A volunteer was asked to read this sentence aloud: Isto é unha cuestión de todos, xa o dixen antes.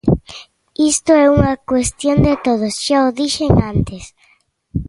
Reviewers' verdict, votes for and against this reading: accepted, 2, 0